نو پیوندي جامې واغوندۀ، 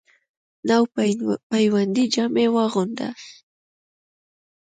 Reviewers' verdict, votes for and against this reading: rejected, 0, 2